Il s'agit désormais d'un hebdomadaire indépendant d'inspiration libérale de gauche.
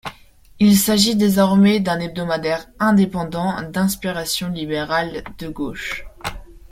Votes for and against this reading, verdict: 1, 2, rejected